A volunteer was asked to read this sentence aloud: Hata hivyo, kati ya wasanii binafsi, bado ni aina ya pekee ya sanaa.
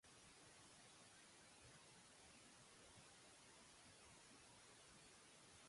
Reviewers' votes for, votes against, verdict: 0, 2, rejected